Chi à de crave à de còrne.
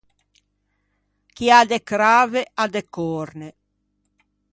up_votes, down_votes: 2, 0